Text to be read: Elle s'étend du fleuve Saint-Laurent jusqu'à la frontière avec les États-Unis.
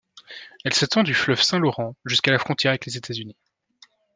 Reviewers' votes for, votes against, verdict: 2, 0, accepted